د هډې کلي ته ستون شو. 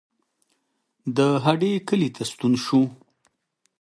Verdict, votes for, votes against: accepted, 3, 0